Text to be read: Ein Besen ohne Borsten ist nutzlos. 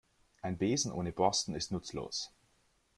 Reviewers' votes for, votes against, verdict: 2, 0, accepted